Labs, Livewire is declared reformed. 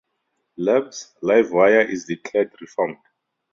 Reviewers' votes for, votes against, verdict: 0, 4, rejected